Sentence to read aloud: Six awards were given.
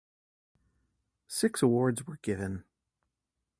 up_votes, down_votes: 2, 0